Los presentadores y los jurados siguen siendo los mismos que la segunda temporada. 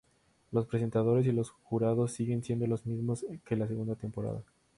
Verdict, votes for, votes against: accepted, 2, 0